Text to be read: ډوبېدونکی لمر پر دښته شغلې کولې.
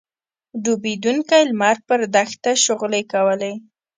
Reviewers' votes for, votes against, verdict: 2, 0, accepted